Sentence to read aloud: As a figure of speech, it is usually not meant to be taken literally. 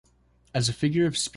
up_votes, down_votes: 0, 2